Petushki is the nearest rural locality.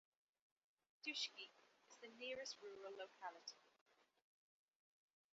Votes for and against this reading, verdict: 1, 2, rejected